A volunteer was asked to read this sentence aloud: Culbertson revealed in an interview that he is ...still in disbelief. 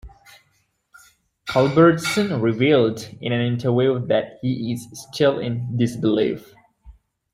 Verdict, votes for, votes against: accepted, 2, 1